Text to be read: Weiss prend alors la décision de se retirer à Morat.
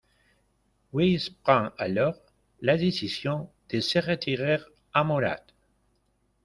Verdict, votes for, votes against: rejected, 0, 2